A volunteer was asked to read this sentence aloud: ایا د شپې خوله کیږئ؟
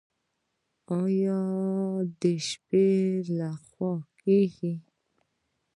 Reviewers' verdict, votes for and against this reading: rejected, 0, 2